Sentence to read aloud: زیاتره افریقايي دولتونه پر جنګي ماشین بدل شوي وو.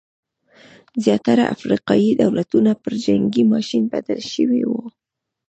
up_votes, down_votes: 1, 2